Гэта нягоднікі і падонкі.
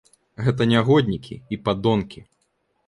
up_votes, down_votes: 2, 0